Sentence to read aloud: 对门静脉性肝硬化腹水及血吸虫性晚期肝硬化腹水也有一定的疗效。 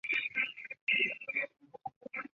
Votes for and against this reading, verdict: 4, 8, rejected